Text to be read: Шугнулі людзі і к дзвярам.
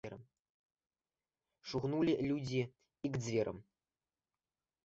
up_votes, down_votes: 0, 2